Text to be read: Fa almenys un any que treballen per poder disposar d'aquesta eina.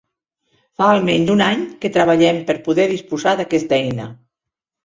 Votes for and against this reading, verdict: 1, 3, rejected